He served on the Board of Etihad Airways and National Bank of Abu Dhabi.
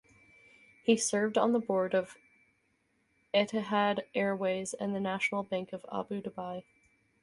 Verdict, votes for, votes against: rejected, 0, 4